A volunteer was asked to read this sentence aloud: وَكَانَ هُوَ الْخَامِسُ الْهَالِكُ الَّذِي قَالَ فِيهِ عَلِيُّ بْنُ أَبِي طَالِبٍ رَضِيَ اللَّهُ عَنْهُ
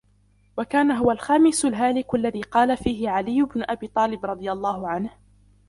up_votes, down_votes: 2, 0